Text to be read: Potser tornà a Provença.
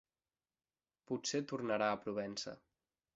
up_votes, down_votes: 0, 2